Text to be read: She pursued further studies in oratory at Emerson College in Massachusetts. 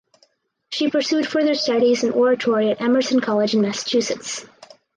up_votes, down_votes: 4, 0